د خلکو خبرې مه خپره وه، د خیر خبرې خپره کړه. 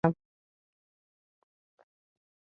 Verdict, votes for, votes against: rejected, 0, 2